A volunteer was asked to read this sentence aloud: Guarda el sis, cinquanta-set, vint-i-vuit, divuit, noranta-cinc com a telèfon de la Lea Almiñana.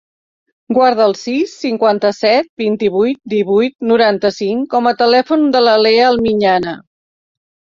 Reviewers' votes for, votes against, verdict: 3, 0, accepted